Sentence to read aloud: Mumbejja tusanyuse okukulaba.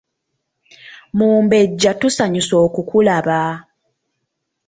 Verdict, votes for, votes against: accepted, 2, 0